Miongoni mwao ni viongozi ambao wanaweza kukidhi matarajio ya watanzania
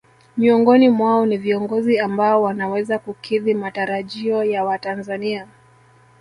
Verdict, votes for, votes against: accepted, 3, 0